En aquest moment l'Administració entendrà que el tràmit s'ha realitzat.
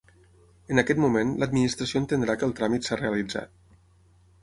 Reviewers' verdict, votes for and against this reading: accepted, 6, 0